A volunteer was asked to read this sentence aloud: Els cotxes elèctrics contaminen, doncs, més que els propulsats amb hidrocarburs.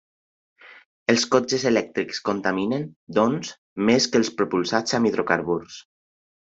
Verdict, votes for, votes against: accepted, 2, 0